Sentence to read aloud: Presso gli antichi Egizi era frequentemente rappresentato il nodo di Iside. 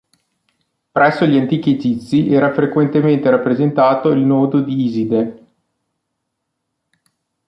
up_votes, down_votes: 2, 0